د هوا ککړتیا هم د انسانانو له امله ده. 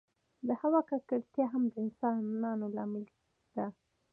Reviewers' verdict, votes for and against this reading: rejected, 0, 2